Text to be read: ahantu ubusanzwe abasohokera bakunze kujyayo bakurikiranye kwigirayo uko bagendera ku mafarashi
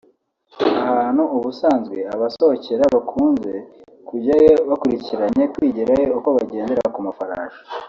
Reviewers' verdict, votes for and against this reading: accepted, 4, 0